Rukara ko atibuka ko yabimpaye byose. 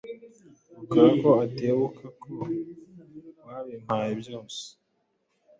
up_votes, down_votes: 0, 2